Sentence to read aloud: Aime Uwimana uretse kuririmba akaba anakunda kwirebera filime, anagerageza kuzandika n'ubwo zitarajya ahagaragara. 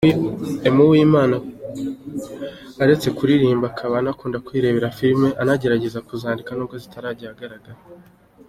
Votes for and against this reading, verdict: 2, 1, accepted